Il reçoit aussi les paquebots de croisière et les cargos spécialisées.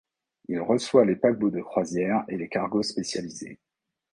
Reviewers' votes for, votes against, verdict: 1, 2, rejected